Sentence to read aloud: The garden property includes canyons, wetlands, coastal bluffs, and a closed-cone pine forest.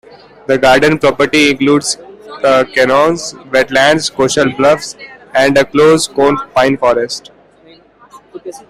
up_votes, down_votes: 1, 2